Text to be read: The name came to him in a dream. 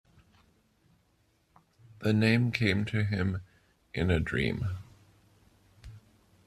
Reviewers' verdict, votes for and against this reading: accepted, 2, 0